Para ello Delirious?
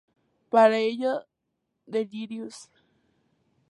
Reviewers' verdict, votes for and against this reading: accepted, 2, 0